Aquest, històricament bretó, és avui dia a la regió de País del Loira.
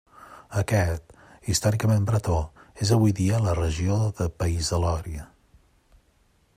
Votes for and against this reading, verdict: 1, 2, rejected